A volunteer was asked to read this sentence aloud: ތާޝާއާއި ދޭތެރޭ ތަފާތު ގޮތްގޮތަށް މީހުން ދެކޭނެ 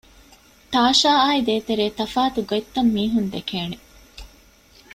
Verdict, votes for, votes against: rejected, 1, 3